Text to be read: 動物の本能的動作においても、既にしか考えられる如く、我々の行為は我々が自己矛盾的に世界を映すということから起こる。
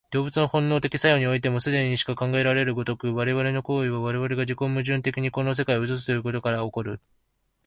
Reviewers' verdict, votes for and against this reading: rejected, 0, 2